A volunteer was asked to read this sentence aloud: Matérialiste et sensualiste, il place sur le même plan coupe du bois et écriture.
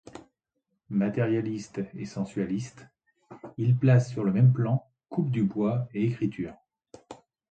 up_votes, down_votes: 2, 1